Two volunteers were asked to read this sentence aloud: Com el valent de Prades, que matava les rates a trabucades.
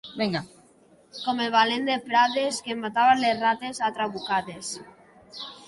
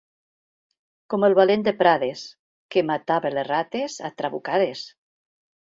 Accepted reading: second